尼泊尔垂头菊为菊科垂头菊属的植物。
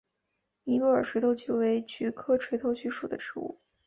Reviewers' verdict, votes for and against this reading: accepted, 2, 0